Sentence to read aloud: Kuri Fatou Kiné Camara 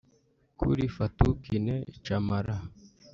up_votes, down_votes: 4, 0